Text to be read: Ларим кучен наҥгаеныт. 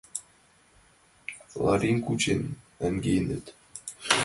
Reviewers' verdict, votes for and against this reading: rejected, 0, 2